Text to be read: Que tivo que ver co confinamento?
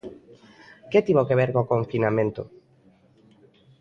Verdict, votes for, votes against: accepted, 2, 0